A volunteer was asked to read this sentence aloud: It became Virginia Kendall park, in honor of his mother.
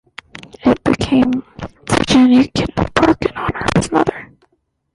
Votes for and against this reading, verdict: 1, 2, rejected